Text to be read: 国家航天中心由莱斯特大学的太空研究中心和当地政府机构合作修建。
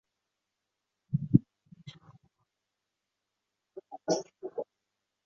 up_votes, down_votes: 0, 3